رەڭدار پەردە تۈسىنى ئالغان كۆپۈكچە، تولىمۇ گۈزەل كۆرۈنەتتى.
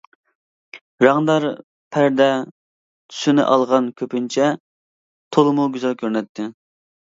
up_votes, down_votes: 0, 2